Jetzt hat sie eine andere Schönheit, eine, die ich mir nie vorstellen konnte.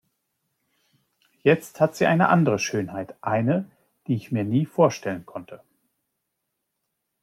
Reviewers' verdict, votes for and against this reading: accepted, 2, 0